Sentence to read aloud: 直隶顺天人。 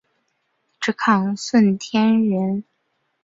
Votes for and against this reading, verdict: 0, 4, rejected